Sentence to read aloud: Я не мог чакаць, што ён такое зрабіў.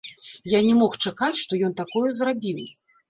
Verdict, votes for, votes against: rejected, 0, 2